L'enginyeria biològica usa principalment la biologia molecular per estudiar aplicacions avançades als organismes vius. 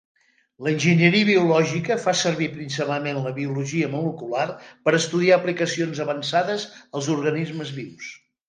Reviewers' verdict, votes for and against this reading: rejected, 3, 5